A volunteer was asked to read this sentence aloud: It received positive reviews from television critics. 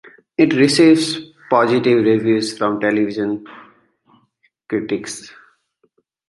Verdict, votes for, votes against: accepted, 2, 0